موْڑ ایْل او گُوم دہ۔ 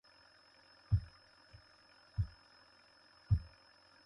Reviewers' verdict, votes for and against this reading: rejected, 0, 2